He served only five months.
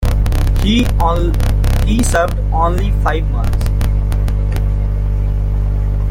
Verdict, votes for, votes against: rejected, 0, 2